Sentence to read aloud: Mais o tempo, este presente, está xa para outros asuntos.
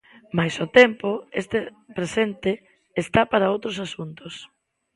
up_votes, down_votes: 2, 0